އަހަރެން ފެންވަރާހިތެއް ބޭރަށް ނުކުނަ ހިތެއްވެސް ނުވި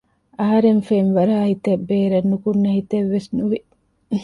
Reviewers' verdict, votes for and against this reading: rejected, 1, 2